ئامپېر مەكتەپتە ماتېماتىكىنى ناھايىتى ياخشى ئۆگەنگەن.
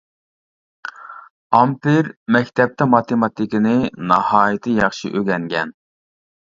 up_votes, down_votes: 2, 0